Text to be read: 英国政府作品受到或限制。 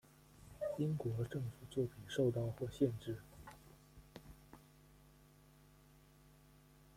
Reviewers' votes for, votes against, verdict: 0, 2, rejected